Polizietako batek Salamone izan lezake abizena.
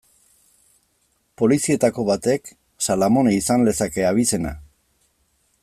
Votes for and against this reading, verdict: 2, 0, accepted